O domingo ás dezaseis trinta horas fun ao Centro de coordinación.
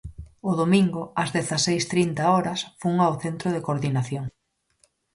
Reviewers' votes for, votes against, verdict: 4, 0, accepted